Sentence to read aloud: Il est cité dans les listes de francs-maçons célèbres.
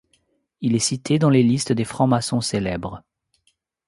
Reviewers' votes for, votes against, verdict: 1, 2, rejected